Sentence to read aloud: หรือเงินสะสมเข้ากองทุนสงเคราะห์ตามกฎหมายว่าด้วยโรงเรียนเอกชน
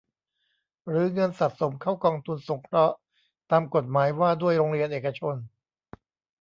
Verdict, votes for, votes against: accepted, 2, 0